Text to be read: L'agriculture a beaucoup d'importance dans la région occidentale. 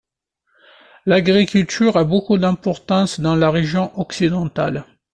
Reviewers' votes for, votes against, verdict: 2, 0, accepted